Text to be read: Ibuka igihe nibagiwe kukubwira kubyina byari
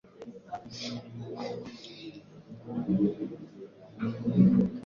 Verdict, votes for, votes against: rejected, 0, 2